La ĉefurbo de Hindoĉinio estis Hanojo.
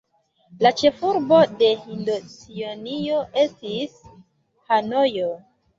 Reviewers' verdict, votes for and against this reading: accepted, 2, 1